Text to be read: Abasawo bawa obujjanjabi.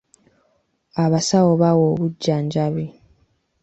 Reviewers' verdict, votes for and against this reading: rejected, 1, 2